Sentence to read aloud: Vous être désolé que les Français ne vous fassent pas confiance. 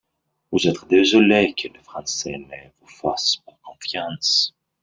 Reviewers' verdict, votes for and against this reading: accepted, 2, 1